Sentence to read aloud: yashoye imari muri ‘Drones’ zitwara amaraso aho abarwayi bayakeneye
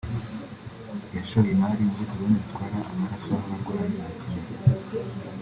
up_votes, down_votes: 1, 2